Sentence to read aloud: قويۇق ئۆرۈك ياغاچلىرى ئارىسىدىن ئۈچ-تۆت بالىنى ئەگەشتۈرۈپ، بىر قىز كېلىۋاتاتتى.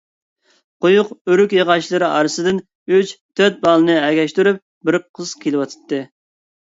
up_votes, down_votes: 0, 2